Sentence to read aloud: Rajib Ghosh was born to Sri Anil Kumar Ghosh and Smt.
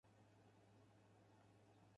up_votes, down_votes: 0, 4